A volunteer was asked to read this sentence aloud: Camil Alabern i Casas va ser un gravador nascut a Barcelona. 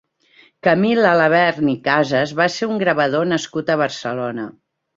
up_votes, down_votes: 2, 0